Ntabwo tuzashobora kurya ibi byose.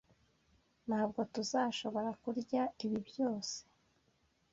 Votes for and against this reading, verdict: 2, 0, accepted